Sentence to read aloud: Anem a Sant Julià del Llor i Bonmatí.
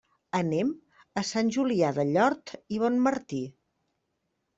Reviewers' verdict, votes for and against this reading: rejected, 0, 2